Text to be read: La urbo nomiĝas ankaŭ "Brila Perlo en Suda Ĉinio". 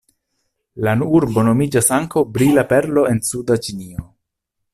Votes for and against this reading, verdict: 1, 2, rejected